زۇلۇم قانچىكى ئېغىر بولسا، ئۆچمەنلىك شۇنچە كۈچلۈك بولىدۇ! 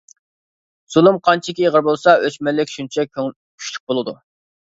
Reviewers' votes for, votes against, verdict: 0, 2, rejected